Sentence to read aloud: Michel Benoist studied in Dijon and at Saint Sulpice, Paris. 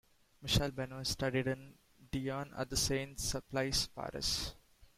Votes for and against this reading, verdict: 2, 1, accepted